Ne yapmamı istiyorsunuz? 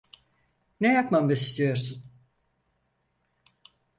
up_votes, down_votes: 0, 4